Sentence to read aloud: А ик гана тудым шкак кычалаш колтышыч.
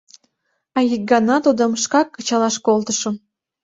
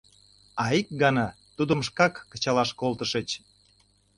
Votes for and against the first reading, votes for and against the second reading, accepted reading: 1, 2, 2, 0, second